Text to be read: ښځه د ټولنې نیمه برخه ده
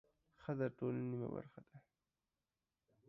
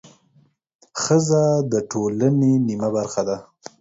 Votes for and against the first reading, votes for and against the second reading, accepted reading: 0, 2, 4, 0, second